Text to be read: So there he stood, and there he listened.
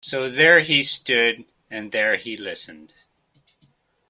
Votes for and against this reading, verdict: 2, 0, accepted